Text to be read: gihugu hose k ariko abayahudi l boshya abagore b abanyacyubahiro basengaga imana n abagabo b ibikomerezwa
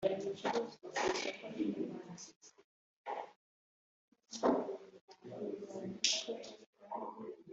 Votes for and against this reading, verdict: 1, 2, rejected